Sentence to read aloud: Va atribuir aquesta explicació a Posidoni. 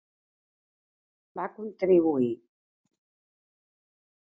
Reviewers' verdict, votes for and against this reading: accepted, 2, 1